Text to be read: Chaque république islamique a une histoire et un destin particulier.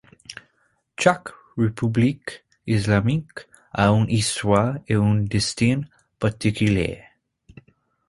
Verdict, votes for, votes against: rejected, 0, 2